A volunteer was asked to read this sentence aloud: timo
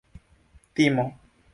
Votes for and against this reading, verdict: 2, 0, accepted